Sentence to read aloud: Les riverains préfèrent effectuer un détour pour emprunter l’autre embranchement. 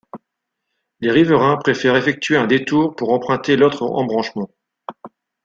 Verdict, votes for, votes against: accepted, 2, 0